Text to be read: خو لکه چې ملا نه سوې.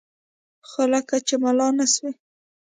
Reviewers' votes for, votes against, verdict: 2, 0, accepted